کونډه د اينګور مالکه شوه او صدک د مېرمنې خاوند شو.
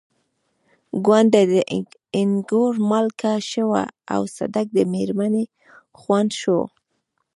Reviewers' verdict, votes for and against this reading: rejected, 0, 2